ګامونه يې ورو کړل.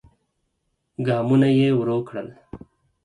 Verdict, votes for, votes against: accepted, 4, 0